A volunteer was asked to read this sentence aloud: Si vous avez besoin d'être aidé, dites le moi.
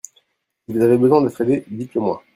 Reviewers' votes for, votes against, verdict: 1, 2, rejected